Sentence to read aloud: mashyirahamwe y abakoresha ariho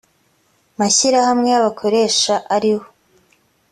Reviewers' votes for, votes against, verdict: 2, 0, accepted